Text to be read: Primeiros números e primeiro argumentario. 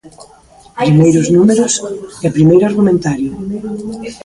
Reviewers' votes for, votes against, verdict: 0, 2, rejected